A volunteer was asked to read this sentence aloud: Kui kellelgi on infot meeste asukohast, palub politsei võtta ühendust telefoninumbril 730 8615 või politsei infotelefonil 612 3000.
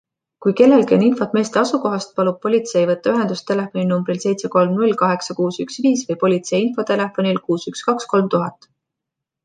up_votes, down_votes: 0, 2